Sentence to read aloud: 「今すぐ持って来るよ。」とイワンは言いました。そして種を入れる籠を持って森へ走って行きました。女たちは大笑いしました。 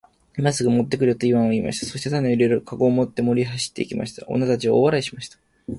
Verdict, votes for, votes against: accepted, 11, 2